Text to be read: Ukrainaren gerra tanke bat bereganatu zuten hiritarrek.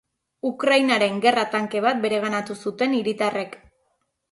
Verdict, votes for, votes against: accepted, 3, 0